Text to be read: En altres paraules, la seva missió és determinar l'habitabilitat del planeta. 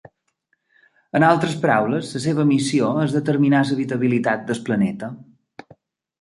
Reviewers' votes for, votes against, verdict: 0, 2, rejected